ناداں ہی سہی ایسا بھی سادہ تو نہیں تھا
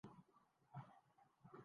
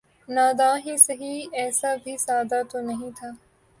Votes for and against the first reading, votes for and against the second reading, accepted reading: 0, 3, 3, 0, second